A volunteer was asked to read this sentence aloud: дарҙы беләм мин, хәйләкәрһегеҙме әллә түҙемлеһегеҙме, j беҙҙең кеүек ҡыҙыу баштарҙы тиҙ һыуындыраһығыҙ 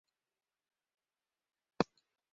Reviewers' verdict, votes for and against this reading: rejected, 0, 2